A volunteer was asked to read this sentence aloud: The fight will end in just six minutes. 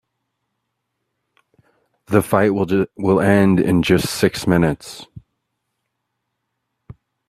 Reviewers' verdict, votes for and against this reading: rejected, 0, 2